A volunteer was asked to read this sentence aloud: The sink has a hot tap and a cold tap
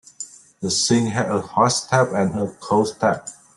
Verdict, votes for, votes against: rejected, 0, 2